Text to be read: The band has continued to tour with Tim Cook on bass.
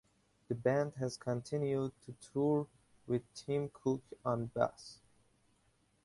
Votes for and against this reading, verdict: 2, 0, accepted